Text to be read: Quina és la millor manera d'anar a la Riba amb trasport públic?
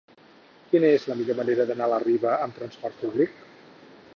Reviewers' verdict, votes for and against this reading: rejected, 2, 4